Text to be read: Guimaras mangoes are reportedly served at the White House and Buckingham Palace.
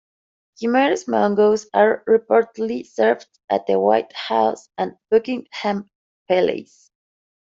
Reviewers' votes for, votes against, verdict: 2, 1, accepted